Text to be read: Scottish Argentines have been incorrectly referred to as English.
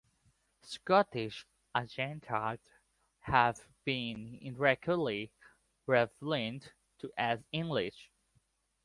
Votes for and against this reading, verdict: 1, 2, rejected